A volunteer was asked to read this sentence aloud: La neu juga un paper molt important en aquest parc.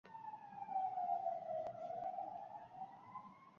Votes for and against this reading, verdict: 0, 3, rejected